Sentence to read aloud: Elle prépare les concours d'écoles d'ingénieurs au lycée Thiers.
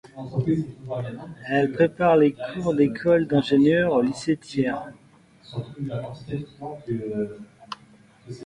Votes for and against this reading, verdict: 0, 2, rejected